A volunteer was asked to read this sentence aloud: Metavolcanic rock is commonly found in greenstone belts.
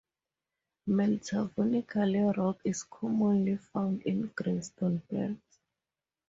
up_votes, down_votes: 2, 0